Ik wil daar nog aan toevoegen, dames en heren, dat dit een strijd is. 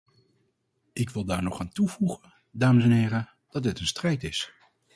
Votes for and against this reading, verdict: 2, 0, accepted